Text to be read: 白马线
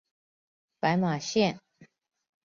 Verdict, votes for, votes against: accepted, 3, 0